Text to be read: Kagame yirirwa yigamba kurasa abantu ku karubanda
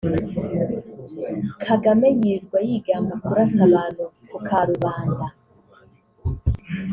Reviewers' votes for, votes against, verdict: 2, 0, accepted